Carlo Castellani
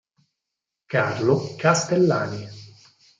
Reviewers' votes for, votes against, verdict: 4, 0, accepted